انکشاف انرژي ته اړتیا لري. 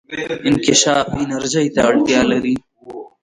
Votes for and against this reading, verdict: 0, 2, rejected